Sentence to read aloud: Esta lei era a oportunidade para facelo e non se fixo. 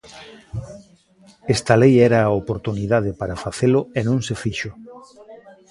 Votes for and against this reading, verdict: 1, 2, rejected